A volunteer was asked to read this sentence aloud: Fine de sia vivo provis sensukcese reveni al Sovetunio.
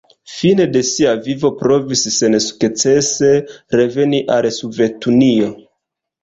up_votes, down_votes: 1, 2